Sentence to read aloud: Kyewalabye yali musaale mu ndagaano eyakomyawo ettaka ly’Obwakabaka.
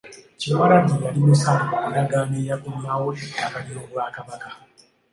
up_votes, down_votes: 2, 0